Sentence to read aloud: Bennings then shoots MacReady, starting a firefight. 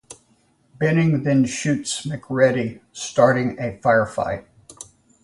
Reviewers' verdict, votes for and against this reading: rejected, 0, 2